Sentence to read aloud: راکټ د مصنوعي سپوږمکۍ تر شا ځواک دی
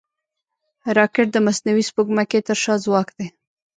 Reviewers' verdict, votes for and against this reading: accepted, 2, 1